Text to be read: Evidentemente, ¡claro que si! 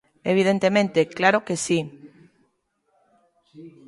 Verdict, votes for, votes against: rejected, 1, 2